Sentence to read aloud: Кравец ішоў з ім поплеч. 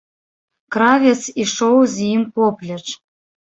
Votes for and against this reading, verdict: 1, 2, rejected